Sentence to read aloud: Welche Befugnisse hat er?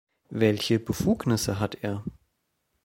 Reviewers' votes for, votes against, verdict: 2, 0, accepted